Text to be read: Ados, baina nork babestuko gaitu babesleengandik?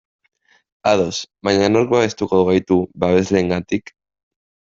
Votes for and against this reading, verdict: 0, 2, rejected